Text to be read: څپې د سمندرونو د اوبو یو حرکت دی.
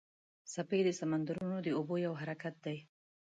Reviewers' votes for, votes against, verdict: 2, 0, accepted